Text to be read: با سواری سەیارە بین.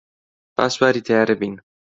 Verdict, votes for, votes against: rejected, 1, 2